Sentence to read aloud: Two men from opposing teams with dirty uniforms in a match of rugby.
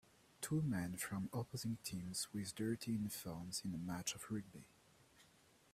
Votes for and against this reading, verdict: 0, 2, rejected